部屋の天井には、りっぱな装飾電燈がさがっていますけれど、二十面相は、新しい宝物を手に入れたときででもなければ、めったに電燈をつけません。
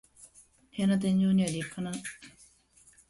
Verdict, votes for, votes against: rejected, 0, 2